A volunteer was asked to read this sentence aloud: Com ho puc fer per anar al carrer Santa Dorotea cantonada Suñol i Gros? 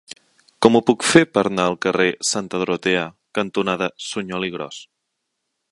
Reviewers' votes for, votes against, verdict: 1, 2, rejected